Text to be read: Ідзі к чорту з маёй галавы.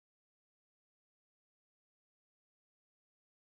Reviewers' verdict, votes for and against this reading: rejected, 0, 2